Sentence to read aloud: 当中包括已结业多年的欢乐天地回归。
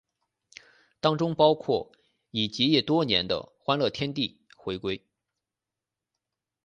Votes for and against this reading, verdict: 0, 2, rejected